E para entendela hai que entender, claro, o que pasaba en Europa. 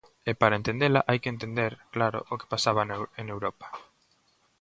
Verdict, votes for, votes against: rejected, 0, 2